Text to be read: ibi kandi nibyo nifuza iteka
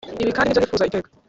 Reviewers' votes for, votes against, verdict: 0, 2, rejected